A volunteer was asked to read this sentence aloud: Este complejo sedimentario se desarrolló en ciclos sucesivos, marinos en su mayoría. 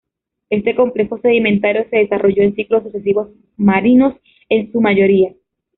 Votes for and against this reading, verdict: 2, 0, accepted